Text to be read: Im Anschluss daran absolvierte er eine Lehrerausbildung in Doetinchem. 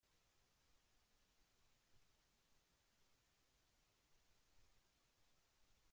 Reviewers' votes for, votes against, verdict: 0, 2, rejected